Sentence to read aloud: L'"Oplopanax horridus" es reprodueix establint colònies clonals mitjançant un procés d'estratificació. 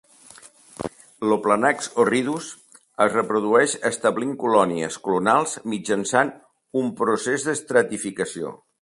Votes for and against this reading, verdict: 1, 2, rejected